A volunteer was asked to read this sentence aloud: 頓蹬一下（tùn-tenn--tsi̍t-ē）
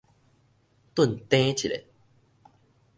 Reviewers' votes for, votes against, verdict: 2, 0, accepted